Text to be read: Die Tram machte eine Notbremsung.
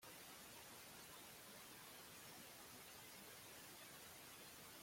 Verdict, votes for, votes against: rejected, 0, 2